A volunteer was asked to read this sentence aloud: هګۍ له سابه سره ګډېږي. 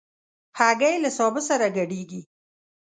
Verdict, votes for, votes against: accepted, 2, 0